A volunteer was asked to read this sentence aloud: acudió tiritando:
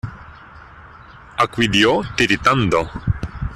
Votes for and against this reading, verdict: 0, 2, rejected